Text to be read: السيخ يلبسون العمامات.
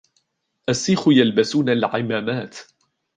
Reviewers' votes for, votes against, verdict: 2, 0, accepted